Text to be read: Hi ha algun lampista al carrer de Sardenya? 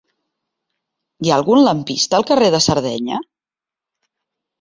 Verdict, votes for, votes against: accepted, 2, 0